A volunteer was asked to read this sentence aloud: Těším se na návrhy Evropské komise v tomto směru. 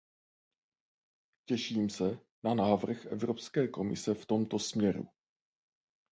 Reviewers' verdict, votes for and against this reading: rejected, 2, 2